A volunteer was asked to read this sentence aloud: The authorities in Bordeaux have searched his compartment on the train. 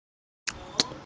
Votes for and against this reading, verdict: 0, 2, rejected